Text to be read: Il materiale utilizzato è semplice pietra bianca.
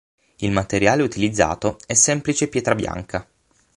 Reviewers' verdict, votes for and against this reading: accepted, 12, 0